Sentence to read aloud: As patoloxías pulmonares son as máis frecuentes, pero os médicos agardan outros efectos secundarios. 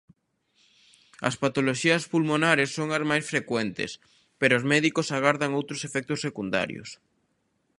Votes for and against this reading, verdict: 2, 0, accepted